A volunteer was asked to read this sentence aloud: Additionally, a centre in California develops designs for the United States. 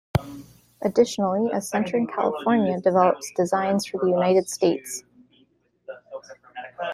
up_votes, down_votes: 0, 2